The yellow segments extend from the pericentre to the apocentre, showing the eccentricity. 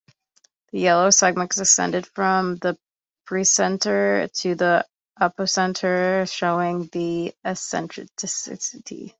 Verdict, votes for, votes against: rejected, 1, 2